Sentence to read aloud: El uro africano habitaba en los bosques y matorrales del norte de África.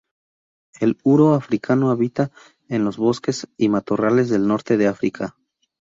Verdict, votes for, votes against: rejected, 2, 2